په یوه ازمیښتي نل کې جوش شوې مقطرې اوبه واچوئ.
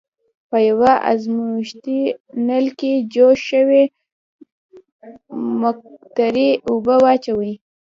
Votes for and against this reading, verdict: 1, 2, rejected